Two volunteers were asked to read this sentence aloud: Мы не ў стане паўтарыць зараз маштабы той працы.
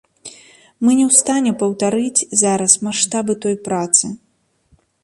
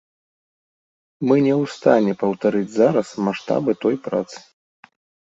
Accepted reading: second